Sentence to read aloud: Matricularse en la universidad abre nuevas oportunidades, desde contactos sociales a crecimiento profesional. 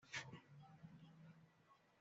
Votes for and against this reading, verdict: 1, 2, rejected